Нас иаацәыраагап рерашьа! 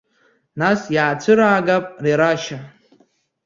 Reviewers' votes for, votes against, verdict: 2, 0, accepted